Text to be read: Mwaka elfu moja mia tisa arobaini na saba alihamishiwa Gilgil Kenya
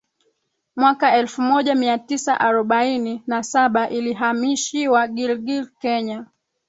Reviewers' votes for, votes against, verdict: 2, 3, rejected